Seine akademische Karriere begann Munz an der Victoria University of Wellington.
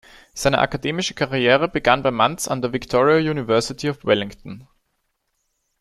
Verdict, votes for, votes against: rejected, 0, 2